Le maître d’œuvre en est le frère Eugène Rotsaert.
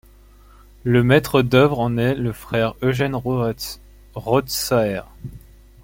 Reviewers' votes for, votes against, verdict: 0, 2, rejected